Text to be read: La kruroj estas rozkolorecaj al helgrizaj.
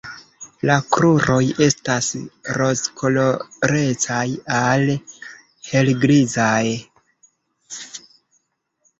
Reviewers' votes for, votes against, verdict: 3, 0, accepted